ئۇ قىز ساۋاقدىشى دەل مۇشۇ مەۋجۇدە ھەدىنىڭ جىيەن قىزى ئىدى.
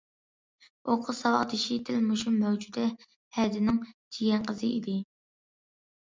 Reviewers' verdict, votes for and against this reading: accepted, 2, 0